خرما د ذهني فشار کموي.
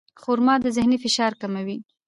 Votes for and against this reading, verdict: 2, 0, accepted